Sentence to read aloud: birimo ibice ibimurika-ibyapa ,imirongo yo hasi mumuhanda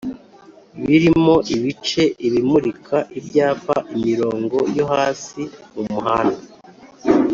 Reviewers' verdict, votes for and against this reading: accepted, 3, 0